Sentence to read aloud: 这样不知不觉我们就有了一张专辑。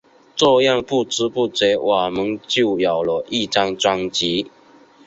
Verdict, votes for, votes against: accepted, 5, 4